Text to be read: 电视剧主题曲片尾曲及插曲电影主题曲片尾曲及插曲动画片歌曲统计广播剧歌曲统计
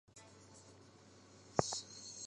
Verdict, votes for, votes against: rejected, 2, 6